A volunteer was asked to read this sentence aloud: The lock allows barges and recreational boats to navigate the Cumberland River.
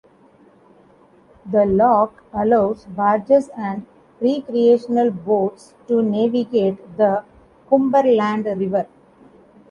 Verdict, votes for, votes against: accepted, 2, 0